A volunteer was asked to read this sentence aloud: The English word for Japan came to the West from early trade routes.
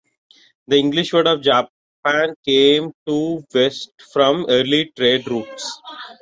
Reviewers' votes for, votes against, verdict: 2, 0, accepted